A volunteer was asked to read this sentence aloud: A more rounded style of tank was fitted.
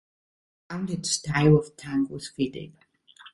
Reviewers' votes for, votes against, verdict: 0, 2, rejected